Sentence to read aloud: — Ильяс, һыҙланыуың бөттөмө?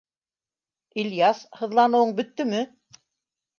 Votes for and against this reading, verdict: 2, 0, accepted